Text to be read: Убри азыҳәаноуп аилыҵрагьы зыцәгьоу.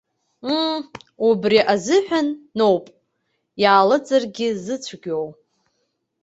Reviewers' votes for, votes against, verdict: 0, 2, rejected